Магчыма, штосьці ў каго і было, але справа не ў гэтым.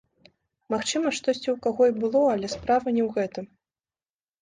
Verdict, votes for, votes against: accepted, 2, 1